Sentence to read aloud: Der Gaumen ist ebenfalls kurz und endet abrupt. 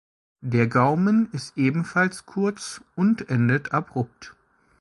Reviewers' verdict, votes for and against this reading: accepted, 2, 0